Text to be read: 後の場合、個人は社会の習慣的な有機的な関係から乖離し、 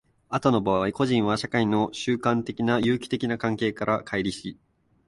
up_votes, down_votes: 4, 0